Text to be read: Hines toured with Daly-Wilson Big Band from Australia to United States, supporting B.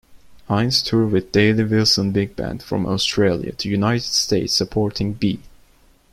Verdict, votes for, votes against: accepted, 2, 1